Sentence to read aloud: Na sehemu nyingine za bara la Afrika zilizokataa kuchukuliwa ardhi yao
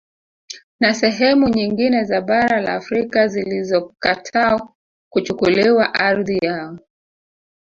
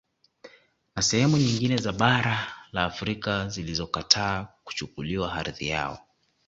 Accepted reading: second